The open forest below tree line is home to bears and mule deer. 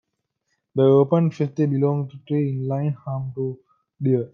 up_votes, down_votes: 0, 2